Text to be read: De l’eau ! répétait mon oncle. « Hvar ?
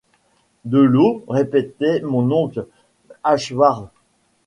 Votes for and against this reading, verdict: 1, 2, rejected